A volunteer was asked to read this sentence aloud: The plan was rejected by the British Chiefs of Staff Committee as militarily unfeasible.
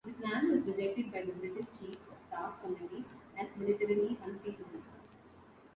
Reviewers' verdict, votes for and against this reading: rejected, 1, 2